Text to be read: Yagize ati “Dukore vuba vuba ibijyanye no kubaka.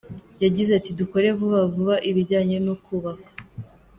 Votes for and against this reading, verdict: 2, 0, accepted